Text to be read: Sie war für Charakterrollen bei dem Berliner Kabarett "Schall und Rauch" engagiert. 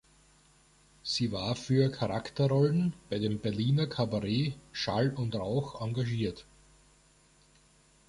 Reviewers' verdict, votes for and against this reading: rejected, 1, 2